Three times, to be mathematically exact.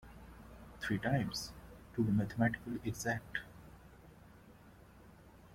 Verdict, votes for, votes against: accepted, 2, 0